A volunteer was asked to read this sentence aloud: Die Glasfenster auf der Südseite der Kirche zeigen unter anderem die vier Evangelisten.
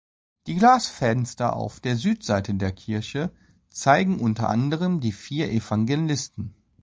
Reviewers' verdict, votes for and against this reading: accepted, 2, 1